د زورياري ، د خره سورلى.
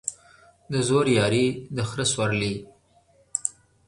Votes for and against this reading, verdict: 3, 0, accepted